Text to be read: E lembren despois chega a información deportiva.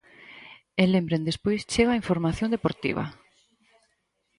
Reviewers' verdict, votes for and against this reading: accepted, 4, 0